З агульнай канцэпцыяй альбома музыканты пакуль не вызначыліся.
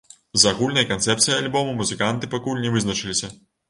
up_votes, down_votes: 2, 0